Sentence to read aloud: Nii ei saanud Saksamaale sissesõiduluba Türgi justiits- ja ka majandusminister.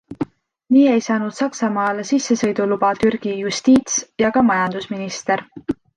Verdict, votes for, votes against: accepted, 2, 0